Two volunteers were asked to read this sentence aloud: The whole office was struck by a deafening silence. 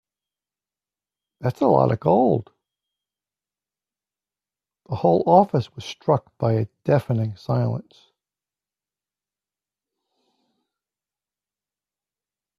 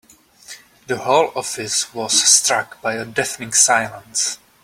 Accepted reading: second